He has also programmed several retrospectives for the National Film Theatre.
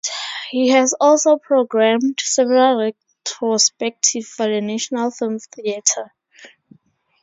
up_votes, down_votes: 0, 4